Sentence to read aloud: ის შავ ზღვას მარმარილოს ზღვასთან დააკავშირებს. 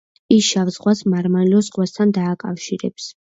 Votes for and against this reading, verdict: 2, 0, accepted